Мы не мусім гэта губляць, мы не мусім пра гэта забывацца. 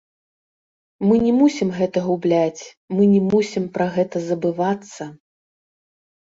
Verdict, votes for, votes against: rejected, 0, 3